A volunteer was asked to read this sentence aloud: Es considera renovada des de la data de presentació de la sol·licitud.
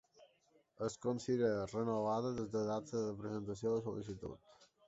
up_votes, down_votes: 2, 3